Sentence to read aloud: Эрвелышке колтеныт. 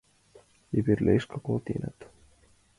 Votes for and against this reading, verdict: 2, 0, accepted